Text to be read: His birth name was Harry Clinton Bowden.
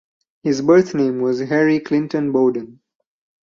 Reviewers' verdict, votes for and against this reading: rejected, 0, 4